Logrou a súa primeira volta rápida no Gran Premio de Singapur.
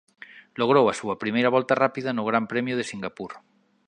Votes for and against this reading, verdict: 2, 0, accepted